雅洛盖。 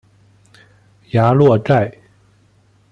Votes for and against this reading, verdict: 2, 1, accepted